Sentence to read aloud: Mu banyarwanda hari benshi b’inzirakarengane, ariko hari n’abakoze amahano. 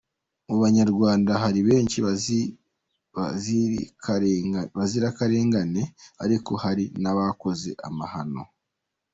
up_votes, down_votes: 1, 2